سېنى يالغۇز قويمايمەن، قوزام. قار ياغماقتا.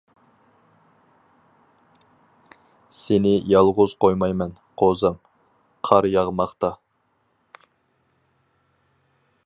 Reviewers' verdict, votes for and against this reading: accepted, 4, 0